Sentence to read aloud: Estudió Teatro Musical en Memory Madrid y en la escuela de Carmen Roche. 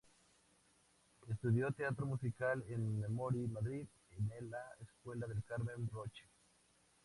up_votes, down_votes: 0, 2